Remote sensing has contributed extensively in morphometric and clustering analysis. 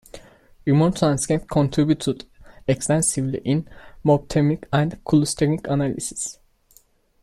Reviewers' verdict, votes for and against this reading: rejected, 0, 3